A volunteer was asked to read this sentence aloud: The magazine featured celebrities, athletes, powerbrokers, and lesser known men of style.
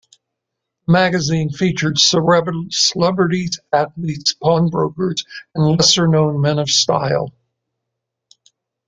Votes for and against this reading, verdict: 0, 2, rejected